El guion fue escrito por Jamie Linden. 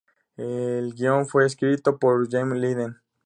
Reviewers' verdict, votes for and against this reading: accepted, 2, 0